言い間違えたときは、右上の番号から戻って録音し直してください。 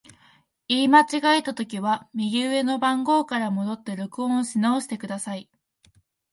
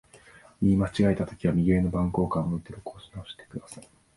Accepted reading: first